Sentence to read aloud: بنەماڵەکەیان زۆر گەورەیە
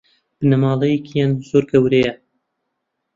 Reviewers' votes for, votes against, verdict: 0, 2, rejected